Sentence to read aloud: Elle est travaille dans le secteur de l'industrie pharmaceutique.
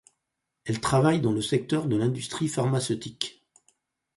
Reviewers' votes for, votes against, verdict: 2, 4, rejected